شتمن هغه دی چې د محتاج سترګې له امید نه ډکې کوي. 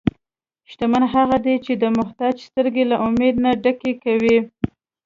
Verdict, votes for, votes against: accepted, 2, 0